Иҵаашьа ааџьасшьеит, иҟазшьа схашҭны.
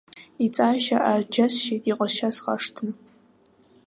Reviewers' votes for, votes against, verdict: 2, 1, accepted